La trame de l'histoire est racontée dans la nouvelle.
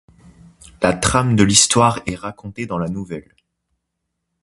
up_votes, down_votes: 2, 0